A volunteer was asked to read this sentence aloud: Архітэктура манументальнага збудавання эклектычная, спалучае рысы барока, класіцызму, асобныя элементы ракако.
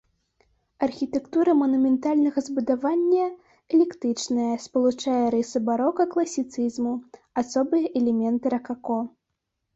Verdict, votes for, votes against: rejected, 0, 2